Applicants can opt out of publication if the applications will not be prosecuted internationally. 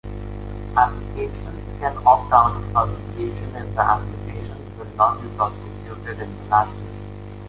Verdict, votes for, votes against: rejected, 0, 2